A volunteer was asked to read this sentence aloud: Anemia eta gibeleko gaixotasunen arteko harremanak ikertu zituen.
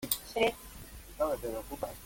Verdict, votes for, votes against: rejected, 0, 2